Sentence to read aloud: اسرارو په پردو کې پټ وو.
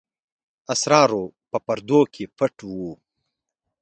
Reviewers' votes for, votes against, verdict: 2, 0, accepted